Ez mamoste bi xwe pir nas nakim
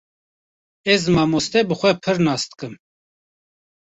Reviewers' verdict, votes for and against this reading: rejected, 1, 2